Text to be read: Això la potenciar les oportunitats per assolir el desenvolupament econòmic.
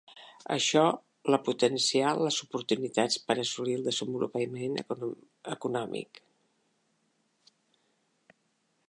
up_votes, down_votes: 0, 2